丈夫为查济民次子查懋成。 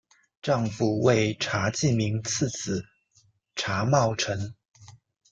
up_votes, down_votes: 2, 0